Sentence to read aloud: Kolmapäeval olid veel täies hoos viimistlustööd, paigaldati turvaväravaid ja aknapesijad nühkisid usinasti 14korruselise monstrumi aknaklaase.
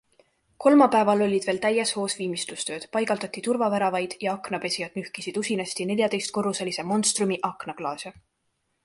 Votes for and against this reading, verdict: 0, 2, rejected